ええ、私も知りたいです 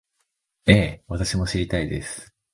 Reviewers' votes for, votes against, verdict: 2, 0, accepted